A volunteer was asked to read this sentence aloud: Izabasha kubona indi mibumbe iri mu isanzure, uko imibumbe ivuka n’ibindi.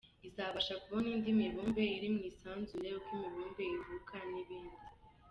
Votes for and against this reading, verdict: 2, 1, accepted